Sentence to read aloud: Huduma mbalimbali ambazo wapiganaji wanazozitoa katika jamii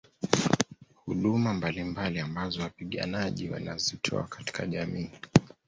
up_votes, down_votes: 2, 0